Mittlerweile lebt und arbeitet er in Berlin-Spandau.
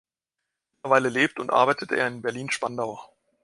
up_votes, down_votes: 1, 3